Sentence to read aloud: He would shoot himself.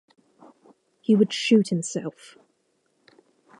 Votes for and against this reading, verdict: 0, 2, rejected